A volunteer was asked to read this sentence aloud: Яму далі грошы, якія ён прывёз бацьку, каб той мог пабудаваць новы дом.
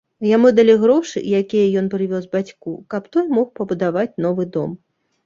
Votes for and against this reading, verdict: 0, 2, rejected